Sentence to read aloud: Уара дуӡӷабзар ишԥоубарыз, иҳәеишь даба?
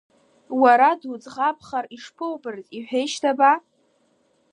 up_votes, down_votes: 3, 1